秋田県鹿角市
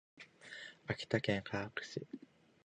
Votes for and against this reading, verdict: 2, 1, accepted